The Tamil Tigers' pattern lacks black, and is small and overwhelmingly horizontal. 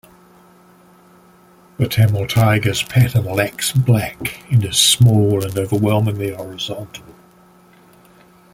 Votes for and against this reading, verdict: 1, 2, rejected